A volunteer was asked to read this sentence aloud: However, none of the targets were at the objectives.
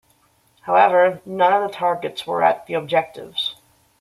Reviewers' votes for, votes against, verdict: 2, 0, accepted